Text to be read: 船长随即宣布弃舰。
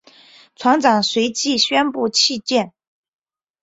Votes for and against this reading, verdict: 0, 2, rejected